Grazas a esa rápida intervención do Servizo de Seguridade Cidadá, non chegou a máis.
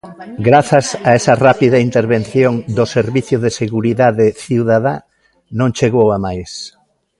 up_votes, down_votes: 1, 2